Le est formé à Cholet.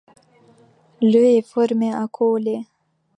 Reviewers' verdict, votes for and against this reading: accepted, 2, 1